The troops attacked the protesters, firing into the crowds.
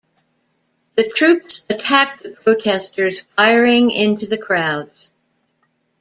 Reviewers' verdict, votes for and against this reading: rejected, 0, 2